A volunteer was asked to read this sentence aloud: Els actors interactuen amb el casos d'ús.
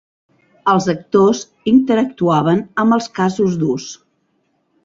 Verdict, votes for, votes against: rejected, 1, 2